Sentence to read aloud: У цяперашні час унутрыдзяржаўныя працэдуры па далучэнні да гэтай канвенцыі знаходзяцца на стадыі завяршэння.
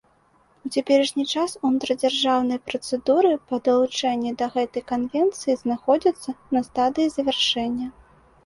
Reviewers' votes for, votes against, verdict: 2, 0, accepted